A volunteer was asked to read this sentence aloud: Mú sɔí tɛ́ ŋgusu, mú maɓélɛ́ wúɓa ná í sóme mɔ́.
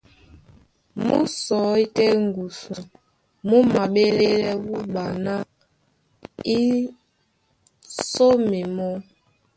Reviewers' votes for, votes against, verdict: 1, 2, rejected